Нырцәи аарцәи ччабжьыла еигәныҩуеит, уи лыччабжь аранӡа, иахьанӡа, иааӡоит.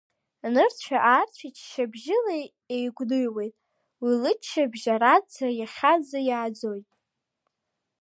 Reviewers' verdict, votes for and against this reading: accepted, 2, 0